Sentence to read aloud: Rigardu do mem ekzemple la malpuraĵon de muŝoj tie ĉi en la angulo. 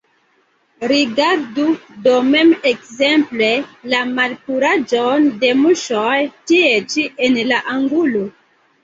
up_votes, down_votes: 2, 1